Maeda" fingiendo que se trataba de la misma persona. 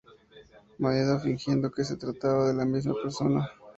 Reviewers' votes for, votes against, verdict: 2, 0, accepted